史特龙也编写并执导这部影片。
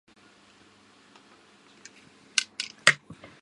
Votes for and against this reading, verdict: 1, 6, rejected